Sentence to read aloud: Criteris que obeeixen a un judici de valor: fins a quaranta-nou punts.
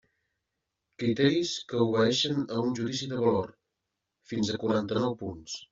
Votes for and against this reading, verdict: 2, 0, accepted